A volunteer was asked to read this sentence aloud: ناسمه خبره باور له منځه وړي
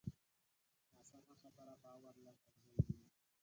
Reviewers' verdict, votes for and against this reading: rejected, 1, 4